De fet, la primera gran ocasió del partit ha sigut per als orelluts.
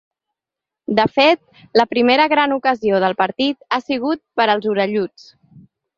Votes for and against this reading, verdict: 2, 0, accepted